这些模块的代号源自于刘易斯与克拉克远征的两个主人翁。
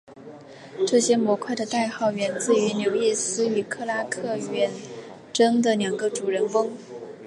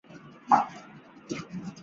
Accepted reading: first